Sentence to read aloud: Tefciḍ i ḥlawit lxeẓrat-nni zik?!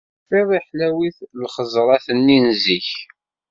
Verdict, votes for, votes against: accepted, 2, 0